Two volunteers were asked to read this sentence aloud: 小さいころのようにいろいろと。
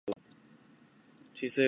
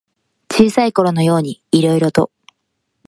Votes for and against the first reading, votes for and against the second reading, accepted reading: 0, 2, 2, 0, second